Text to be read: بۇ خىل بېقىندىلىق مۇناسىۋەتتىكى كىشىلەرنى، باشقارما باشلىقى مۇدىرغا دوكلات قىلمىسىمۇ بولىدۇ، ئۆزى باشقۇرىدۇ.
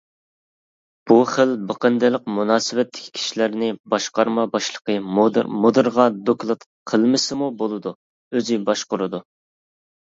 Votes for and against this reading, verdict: 1, 2, rejected